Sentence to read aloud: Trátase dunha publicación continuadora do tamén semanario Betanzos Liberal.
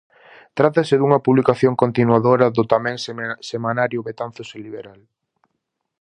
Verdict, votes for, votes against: rejected, 0, 4